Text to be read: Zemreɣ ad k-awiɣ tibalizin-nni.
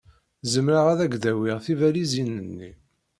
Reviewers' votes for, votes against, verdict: 1, 2, rejected